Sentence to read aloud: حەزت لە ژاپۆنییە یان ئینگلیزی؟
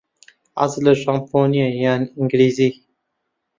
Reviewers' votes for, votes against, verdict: 0, 2, rejected